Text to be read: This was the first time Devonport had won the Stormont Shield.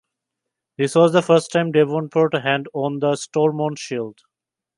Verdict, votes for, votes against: rejected, 1, 2